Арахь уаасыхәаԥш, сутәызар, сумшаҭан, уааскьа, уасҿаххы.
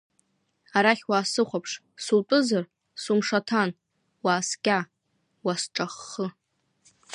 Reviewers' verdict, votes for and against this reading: rejected, 1, 2